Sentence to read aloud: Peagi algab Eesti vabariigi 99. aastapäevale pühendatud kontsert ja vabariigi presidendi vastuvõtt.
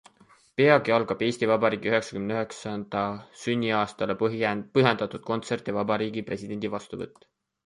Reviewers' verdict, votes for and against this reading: rejected, 0, 2